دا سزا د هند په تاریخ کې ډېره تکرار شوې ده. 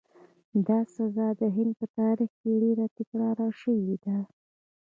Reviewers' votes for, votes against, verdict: 2, 0, accepted